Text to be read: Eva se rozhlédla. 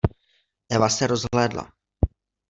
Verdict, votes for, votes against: accepted, 2, 0